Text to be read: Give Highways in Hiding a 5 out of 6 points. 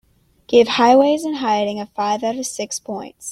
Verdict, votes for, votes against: rejected, 0, 2